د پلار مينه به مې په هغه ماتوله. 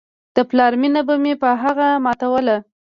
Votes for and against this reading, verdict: 1, 2, rejected